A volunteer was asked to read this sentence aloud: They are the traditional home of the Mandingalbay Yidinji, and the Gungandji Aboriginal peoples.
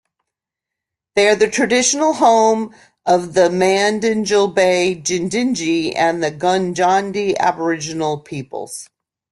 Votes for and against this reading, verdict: 2, 0, accepted